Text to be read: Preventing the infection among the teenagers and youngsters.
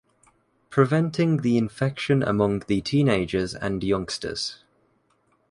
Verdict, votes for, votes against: accepted, 2, 0